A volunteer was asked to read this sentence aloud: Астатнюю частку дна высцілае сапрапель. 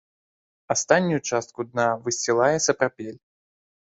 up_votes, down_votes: 1, 2